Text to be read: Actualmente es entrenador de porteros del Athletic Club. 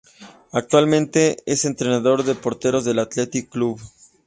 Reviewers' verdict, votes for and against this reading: accepted, 2, 0